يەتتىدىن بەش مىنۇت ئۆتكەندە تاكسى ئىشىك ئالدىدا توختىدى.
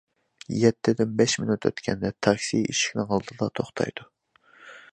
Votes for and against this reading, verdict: 0, 2, rejected